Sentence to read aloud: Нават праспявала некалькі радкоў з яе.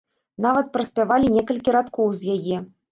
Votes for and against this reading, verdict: 0, 2, rejected